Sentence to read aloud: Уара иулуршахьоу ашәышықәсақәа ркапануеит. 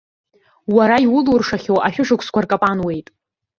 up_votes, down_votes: 2, 0